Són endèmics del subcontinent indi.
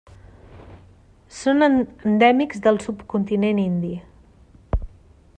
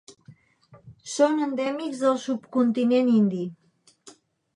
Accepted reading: second